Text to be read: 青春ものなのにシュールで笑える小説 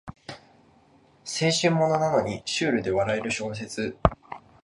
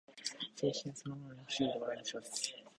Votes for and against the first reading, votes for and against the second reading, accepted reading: 2, 0, 0, 2, first